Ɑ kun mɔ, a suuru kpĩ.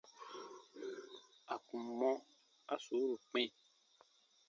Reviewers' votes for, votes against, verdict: 0, 2, rejected